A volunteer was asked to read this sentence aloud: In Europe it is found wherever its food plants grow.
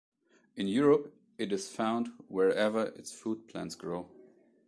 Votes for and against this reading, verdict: 2, 0, accepted